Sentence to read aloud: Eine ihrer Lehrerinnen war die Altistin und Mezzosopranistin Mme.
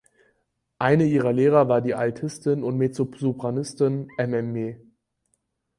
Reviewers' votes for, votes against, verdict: 0, 4, rejected